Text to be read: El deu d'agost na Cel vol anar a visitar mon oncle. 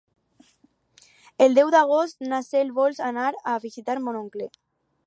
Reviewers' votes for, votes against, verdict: 0, 4, rejected